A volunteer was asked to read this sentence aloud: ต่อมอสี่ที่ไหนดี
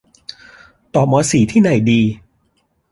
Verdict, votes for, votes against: accepted, 2, 0